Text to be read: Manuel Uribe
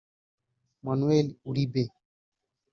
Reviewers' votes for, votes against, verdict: 0, 2, rejected